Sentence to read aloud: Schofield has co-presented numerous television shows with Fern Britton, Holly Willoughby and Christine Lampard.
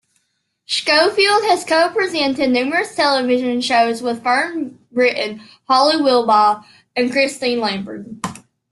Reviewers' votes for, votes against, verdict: 1, 2, rejected